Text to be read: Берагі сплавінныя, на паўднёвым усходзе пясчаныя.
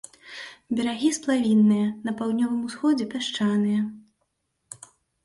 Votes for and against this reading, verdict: 2, 0, accepted